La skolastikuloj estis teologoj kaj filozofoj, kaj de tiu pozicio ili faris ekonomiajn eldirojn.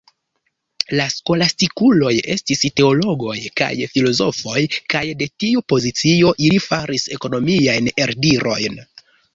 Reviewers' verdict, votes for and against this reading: rejected, 1, 2